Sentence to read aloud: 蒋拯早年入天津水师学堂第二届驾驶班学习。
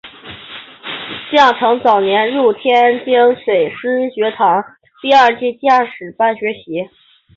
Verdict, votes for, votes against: accepted, 2, 1